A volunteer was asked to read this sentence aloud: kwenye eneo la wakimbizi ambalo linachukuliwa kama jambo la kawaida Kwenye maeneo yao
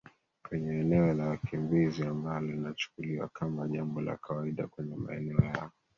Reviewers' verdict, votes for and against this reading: accepted, 2, 1